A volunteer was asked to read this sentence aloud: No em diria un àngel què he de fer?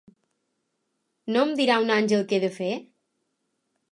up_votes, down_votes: 0, 2